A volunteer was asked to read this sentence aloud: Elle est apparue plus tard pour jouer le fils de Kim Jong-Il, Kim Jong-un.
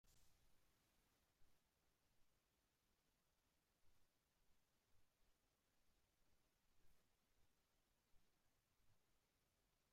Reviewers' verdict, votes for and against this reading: rejected, 0, 2